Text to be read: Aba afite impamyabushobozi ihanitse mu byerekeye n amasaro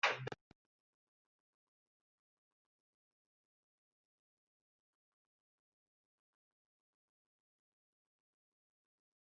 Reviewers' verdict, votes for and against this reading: rejected, 0, 2